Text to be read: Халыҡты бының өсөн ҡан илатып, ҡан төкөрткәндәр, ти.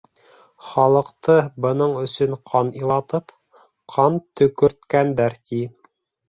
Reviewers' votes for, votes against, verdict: 2, 0, accepted